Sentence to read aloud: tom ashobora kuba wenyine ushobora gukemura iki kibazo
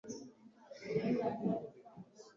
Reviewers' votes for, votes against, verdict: 2, 0, accepted